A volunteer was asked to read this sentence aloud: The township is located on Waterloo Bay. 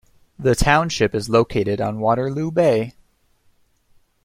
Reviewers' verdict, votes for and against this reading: accepted, 2, 0